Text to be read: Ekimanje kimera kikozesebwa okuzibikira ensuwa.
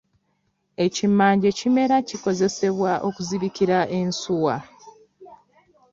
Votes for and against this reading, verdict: 2, 0, accepted